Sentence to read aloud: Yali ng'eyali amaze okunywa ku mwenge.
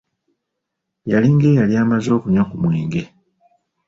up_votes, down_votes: 2, 0